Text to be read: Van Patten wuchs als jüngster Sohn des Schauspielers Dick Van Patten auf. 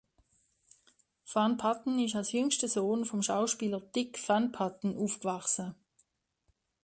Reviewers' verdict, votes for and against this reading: rejected, 0, 2